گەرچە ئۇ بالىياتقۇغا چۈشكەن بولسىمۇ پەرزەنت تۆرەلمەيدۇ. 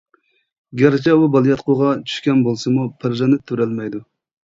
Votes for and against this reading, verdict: 1, 2, rejected